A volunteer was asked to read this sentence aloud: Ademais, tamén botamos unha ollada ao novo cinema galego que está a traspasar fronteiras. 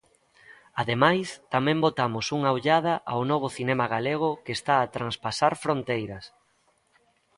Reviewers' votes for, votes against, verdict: 1, 2, rejected